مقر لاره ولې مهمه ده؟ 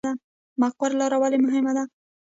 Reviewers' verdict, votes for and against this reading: rejected, 1, 2